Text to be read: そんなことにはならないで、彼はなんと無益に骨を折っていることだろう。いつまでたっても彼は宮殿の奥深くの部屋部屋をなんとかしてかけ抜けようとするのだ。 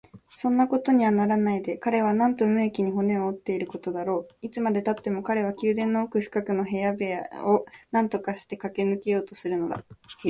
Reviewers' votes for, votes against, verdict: 2, 2, rejected